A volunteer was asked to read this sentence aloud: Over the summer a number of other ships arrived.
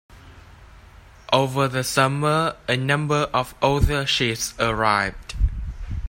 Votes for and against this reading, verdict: 2, 0, accepted